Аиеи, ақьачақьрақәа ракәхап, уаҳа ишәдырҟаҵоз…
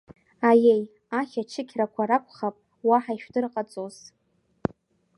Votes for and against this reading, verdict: 1, 2, rejected